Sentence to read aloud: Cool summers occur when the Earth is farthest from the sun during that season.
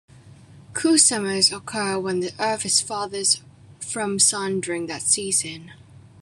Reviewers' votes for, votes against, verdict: 1, 2, rejected